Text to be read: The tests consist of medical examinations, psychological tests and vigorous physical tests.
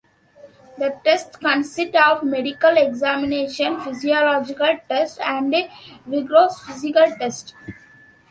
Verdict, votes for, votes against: rejected, 0, 2